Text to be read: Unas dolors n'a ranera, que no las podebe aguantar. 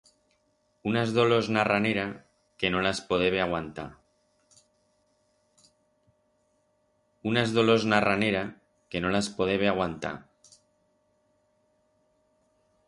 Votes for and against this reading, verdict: 2, 4, rejected